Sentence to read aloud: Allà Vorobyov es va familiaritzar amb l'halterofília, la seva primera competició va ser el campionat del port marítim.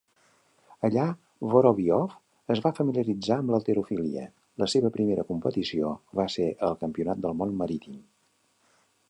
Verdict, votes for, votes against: rejected, 1, 2